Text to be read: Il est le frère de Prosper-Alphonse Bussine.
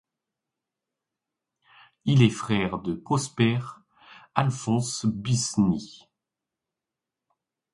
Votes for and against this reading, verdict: 1, 2, rejected